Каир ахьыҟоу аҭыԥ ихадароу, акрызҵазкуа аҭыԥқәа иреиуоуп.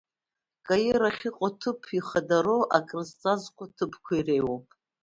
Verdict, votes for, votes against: accepted, 2, 0